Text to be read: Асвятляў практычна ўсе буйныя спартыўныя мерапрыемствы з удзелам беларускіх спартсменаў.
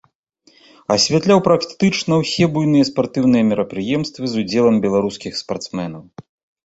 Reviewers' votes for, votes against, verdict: 0, 2, rejected